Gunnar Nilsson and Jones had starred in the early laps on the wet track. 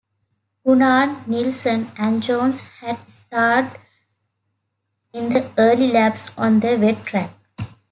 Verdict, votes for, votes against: accepted, 2, 0